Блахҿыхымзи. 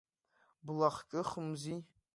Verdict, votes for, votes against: accepted, 2, 0